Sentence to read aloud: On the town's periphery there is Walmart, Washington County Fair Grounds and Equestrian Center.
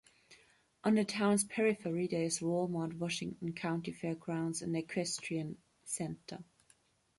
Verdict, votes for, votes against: accepted, 2, 0